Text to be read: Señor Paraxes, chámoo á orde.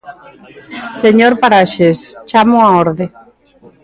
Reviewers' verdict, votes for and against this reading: accepted, 3, 0